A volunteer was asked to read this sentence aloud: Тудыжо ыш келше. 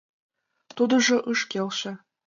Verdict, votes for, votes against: accepted, 2, 1